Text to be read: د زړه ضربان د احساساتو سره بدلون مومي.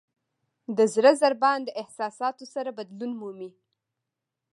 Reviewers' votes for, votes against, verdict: 0, 2, rejected